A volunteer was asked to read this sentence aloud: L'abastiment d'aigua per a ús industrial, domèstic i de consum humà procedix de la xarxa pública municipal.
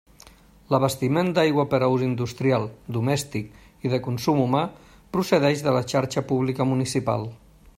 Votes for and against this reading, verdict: 0, 2, rejected